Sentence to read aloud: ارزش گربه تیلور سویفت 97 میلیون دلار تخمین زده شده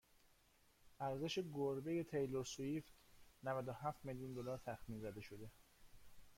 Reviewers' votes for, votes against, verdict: 0, 2, rejected